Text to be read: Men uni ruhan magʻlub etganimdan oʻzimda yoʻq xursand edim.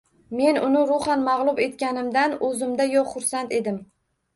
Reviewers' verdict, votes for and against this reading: accepted, 2, 1